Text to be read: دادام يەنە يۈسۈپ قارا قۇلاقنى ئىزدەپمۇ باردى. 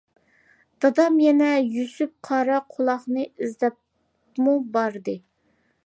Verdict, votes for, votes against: accepted, 2, 0